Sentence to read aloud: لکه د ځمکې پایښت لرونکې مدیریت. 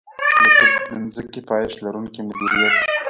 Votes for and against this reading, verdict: 1, 2, rejected